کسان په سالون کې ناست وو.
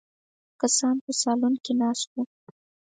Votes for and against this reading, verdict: 4, 0, accepted